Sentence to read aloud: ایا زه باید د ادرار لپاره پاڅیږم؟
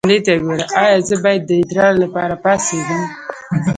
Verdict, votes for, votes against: rejected, 1, 2